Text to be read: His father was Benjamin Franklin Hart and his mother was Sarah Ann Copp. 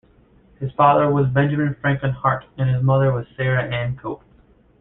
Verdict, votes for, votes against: rejected, 0, 2